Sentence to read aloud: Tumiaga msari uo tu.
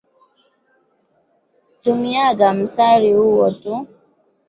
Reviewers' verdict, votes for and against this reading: accepted, 4, 0